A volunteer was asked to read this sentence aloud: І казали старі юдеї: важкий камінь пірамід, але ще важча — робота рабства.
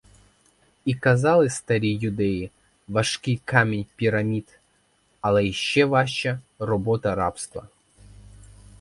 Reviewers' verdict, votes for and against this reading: rejected, 2, 4